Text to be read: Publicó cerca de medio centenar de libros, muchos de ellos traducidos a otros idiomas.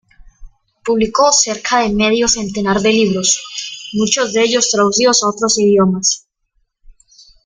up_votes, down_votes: 0, 2